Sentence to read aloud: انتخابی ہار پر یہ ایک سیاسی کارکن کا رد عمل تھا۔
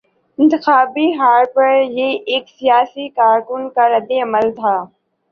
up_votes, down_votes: 2, 0